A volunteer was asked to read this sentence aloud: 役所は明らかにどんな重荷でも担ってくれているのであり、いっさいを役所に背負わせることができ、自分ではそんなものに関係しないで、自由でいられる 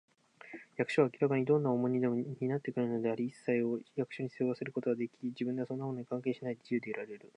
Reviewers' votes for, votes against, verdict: 2, 0, accepted